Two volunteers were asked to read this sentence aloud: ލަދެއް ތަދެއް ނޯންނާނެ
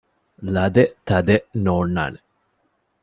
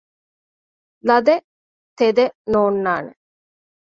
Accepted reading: first